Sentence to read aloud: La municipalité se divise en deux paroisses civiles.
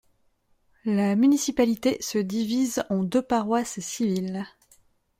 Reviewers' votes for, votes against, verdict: 2, 0, accepted